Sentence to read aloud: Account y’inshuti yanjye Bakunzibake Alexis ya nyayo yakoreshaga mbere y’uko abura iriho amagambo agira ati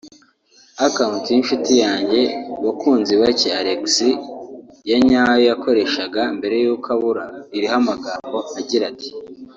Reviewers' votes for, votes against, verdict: 2, 1, accepted